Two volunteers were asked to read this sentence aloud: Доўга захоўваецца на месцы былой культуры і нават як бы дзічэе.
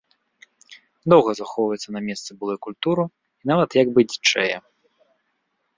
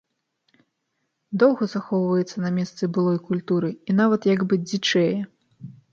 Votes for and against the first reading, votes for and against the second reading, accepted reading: 1, 2, 2, 0, second